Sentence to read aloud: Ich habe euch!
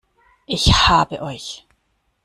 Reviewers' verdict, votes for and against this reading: accepted, 2, 0